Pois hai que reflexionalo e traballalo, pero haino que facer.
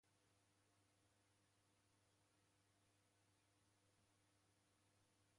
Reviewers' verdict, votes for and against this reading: rejected, 0, 2